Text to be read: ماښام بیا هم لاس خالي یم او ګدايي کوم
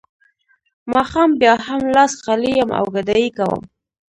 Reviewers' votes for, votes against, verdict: 1, 2, rejected